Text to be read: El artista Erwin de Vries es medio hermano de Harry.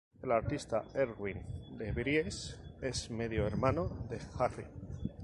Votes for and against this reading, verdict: 2, 2, rejected